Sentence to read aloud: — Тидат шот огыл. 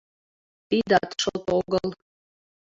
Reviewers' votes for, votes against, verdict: 2, 0, accepted